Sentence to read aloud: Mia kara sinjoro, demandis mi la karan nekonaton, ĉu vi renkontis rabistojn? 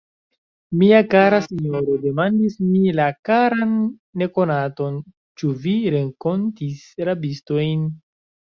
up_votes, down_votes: 0, 2